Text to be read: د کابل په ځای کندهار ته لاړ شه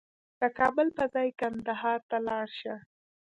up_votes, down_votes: 2, 0